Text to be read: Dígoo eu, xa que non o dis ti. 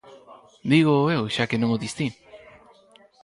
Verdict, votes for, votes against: accepted, 4, 0